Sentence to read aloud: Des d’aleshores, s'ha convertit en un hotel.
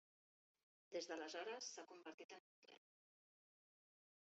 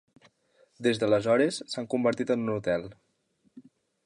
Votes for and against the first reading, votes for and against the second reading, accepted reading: 0, 2, 2, 0, second